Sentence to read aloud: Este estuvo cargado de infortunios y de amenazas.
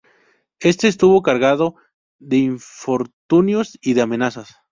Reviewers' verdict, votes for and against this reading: rejected, 0, 2